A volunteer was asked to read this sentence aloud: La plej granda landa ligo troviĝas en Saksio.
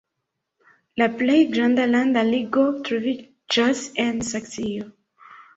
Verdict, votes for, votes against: accepted, 3, 0